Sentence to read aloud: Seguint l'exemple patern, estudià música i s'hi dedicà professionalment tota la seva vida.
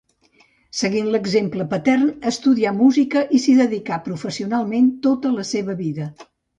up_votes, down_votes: 2, 0